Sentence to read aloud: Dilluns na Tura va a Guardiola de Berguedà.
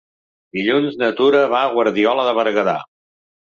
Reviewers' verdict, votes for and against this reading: accepted, 3, 0